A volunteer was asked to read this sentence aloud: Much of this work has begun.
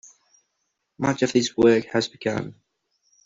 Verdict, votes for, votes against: accepted, 2, 0